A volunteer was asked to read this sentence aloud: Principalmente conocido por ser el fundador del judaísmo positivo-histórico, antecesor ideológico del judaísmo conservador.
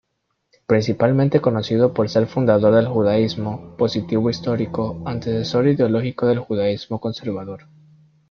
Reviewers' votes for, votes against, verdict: 2, 0, accepted